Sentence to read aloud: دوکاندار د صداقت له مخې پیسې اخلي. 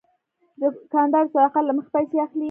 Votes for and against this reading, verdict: 1, 2, rejected